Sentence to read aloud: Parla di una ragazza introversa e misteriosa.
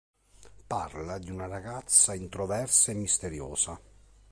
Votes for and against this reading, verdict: 2, 0, accepted